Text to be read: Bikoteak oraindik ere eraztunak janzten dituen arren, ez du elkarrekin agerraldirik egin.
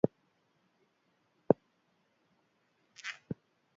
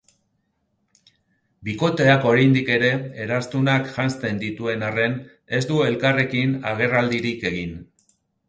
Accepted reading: second